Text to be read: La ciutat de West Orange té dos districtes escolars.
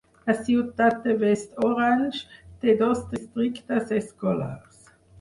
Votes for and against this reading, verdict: 4, 0, accepted